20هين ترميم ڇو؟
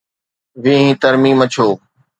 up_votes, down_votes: 0, 2